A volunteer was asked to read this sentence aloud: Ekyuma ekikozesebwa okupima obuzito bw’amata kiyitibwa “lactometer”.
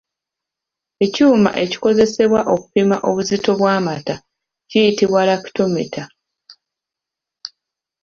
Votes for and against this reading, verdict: 2, 0, accepted